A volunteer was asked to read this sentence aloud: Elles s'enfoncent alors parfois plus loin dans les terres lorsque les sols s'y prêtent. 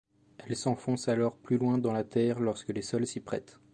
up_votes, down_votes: 1, 2